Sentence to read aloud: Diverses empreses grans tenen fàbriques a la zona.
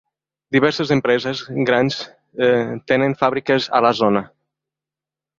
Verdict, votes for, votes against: accepted, 2, 1